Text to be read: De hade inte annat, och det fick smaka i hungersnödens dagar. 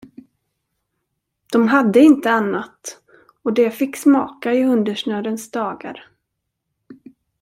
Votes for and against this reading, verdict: 1, 2, rejected